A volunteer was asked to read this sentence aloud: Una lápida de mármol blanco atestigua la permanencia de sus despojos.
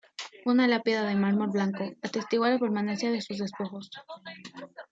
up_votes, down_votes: 2, 1